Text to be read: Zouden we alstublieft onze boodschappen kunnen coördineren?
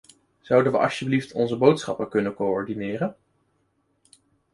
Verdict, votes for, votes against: rejected, 1, 2